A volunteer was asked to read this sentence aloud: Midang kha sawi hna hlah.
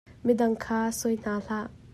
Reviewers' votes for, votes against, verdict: 2, 0, accepted